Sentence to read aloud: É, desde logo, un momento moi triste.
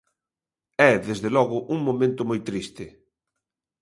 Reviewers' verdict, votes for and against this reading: accepted, 2, 0